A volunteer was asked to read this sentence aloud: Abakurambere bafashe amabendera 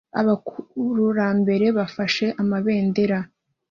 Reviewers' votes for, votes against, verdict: 2, 0, accepted